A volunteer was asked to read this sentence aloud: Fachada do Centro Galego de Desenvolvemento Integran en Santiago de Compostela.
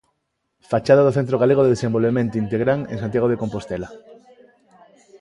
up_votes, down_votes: 1, 2